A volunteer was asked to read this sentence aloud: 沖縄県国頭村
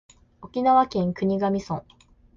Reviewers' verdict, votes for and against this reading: accepted, 2, 0